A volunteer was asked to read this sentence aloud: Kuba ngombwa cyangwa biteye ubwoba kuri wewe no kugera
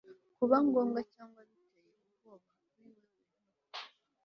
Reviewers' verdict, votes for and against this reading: rejected, 0, 2